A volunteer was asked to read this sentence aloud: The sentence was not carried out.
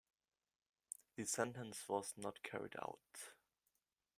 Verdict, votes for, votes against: accepted, 2, 0